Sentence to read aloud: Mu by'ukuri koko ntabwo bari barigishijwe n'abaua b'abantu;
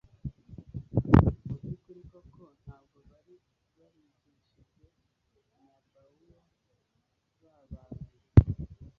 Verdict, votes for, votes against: rejected, 0, 2